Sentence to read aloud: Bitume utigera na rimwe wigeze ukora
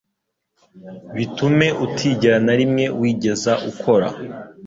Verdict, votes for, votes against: rejected, 1, 2